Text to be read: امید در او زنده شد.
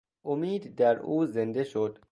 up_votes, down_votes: 2, 0